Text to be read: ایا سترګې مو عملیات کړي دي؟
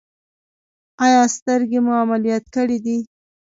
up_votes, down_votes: 0, 2